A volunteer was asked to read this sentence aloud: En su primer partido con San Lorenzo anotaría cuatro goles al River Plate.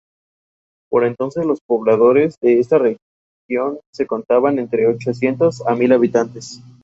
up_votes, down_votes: 0, 2